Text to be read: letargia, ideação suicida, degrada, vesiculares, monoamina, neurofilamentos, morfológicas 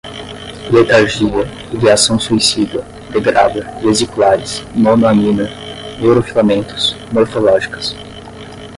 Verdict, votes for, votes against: rejected, 5, 5